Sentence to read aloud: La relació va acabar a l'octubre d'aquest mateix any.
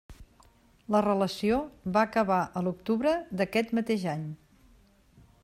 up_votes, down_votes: 3, 0